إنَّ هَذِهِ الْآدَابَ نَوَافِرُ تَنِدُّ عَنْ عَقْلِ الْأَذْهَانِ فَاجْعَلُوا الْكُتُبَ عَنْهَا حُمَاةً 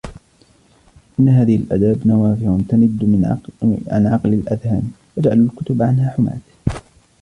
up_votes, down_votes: 0, 2